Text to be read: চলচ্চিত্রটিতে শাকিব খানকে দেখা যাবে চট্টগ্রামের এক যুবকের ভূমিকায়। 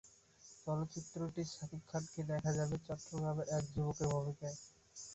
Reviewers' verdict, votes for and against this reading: rejected, 3, 8